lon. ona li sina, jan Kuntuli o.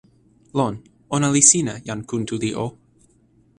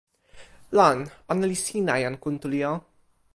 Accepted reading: first